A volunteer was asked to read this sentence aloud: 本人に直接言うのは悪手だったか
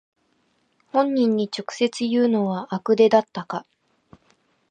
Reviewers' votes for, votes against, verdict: 0, 2, rejected